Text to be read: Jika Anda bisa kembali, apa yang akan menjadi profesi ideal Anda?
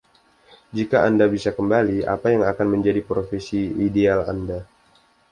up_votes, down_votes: 2, 0